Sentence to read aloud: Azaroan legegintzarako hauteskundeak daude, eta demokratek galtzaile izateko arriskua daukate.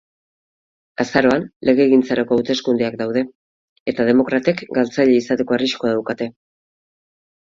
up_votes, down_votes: 4, 0